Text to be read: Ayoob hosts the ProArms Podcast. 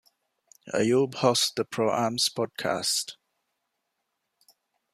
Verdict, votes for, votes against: rejected, 0, 2